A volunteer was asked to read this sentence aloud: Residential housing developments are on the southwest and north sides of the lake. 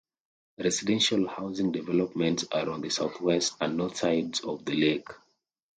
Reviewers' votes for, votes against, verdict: 2, 0, accepted